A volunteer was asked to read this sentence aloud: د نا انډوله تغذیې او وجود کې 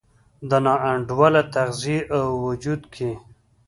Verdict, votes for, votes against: accepted, 2, 0